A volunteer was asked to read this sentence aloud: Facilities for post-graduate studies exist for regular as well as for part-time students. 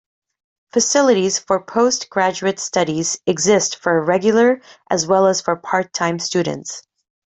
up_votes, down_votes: 2, 0